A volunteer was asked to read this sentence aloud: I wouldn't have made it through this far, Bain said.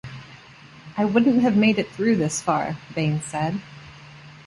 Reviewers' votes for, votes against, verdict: 2, 0, accepted